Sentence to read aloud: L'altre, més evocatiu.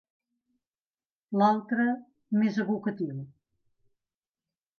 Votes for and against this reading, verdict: 2, 0, accepted